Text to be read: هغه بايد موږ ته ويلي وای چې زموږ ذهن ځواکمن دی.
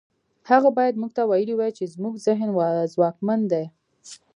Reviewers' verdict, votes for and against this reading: accepted, 2, 0